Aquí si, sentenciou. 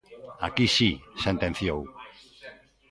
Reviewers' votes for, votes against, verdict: 2, 0, accepted